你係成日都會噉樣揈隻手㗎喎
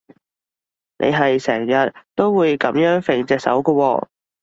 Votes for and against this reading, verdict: 2, 0, accepted